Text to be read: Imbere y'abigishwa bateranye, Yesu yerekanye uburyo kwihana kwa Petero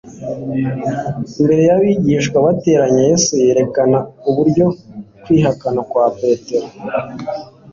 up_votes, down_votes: 0, 2